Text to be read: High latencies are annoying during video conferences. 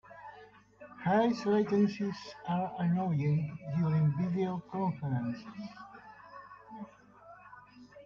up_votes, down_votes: 0, 2